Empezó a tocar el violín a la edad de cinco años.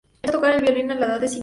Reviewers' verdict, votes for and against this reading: rejected, 0, 2